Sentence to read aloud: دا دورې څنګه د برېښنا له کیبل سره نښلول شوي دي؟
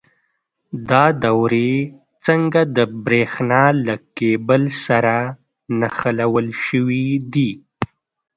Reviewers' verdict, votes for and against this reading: rejected, 1, 2